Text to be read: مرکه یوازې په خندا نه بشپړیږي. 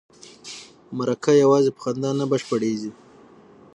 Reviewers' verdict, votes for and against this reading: accepted, 6, 0